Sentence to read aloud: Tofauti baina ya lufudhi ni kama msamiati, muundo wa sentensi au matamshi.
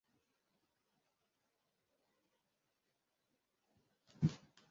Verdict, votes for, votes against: rejected, 0, 2